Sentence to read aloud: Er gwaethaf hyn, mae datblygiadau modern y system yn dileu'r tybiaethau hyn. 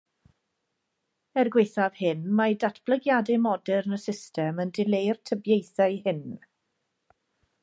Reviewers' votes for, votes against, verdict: 2, 0, accepted